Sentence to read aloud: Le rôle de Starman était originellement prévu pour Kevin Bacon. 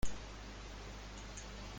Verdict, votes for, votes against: rejected, 0, 2